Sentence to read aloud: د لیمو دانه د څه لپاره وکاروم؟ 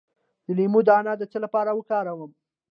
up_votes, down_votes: 2, 0